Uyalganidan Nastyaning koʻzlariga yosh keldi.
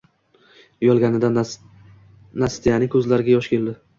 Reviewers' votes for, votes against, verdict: 0, 2, rejected